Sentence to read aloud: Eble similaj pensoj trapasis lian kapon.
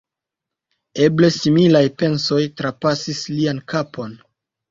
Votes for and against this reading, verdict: 2, 0, accepted